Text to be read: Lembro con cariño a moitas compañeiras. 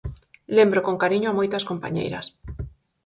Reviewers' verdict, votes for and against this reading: accepted, 4, 0